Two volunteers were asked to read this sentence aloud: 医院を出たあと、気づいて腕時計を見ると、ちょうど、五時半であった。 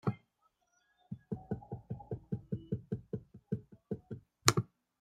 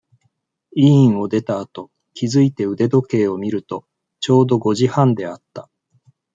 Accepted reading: second